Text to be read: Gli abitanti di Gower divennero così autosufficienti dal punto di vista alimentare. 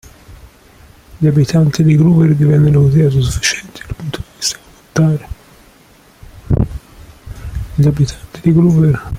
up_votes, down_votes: 0, 2